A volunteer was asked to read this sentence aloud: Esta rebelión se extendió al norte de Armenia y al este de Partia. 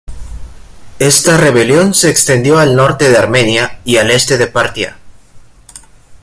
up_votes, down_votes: 2, 0